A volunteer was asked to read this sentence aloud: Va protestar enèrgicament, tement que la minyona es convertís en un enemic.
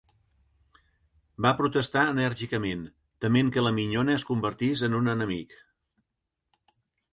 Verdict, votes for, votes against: accepted, 2, 0